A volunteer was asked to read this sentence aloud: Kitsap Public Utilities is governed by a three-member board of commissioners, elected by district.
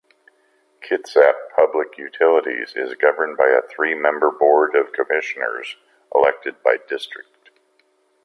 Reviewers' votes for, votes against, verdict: 1, 2, rejected